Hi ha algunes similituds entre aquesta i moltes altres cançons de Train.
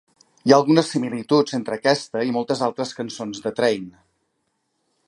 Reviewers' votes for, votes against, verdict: 2, 0, accepted